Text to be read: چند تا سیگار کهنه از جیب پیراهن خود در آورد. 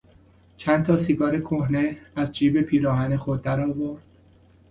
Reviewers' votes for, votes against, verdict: 2, 0, accepted